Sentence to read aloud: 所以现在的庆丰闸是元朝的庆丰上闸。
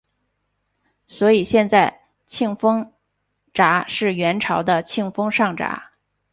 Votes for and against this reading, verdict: 2, 3, rejected